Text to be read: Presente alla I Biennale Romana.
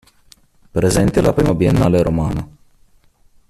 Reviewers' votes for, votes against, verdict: 3, 1, accepted